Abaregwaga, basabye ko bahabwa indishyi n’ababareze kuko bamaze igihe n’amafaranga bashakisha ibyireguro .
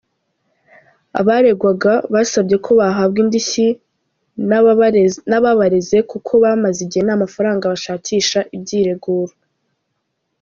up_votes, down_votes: 0, 2